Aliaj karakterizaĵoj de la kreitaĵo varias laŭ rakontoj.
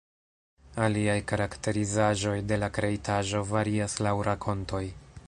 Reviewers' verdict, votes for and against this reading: accepted, 2, 0